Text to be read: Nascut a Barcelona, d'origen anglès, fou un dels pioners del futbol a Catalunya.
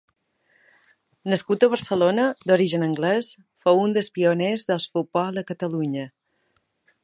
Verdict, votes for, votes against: rejected, 1, 2